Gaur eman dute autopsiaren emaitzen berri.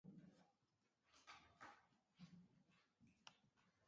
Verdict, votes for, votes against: rejected, 0, 4